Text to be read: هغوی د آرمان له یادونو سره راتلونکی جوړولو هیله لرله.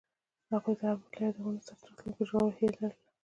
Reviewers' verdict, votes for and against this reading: accepted, 2, 1